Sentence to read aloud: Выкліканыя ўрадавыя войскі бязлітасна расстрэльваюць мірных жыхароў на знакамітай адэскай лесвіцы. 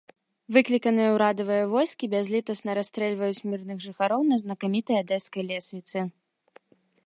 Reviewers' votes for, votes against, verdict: 2, 0, accepted